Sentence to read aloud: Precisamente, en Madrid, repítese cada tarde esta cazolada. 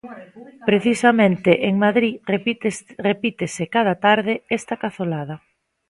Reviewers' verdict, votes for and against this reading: rejected, 0, 2